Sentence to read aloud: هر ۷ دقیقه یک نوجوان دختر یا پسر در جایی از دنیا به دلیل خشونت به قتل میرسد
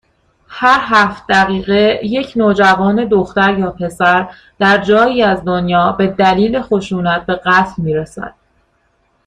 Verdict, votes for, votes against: rejected, 0, 2